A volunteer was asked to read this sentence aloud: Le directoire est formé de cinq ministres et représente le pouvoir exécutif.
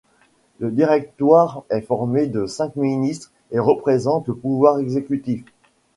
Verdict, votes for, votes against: accepted, 2, 0